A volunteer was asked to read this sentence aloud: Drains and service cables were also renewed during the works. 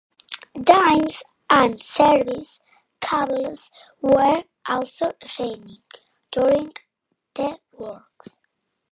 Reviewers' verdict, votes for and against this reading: rejected, 0, 2